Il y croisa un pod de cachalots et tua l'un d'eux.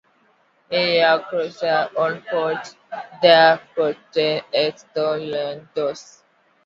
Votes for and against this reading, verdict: 0, 2, rejected